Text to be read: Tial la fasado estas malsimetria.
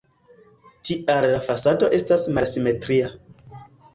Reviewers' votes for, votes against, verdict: 2, 1, accepted